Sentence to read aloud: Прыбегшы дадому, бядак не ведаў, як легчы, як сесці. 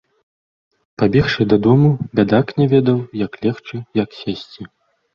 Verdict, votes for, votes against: accepted, 2, 1